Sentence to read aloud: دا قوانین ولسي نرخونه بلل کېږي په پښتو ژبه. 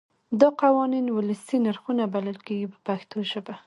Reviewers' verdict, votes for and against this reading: accepted, 2, 1